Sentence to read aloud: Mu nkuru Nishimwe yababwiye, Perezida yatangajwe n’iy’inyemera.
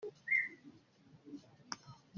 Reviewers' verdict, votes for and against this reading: rejected, 0, 2